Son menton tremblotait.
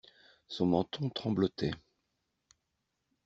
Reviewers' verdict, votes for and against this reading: accepted, 2, 0